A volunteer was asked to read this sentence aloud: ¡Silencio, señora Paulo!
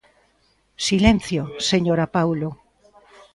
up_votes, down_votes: 2, 0